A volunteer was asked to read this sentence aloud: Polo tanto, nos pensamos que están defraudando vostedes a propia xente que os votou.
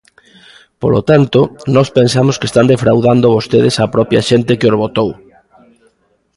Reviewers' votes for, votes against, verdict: 1, 2, rejected